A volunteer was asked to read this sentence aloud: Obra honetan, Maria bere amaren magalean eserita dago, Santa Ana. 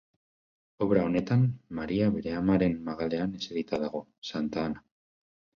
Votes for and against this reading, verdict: 6, 0, accepted